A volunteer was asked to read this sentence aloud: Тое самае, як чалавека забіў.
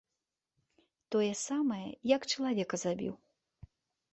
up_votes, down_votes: 3, 0